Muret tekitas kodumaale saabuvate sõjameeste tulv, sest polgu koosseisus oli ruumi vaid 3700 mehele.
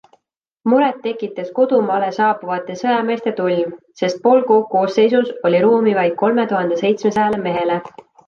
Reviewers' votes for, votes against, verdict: 0, 2, rejected